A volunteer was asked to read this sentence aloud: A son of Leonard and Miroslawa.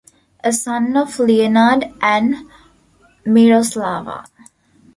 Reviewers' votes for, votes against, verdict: 2, 1, accepted